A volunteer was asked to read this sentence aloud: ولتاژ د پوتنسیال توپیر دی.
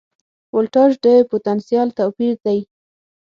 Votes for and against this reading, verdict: 6, 0, accepted